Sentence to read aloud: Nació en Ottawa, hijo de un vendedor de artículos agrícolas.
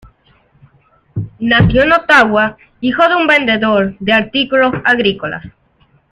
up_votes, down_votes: 2, 0